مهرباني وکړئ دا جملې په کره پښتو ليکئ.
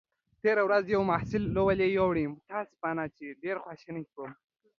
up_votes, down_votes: 1, 2